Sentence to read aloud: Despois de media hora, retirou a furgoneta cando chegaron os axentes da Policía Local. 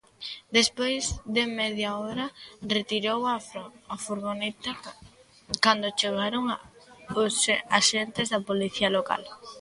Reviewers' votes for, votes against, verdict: 0, 3, rejected